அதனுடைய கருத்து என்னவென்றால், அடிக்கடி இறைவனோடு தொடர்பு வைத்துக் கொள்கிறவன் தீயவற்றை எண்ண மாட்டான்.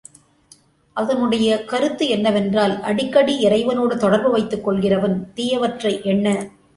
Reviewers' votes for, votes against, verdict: 0, 2, rejected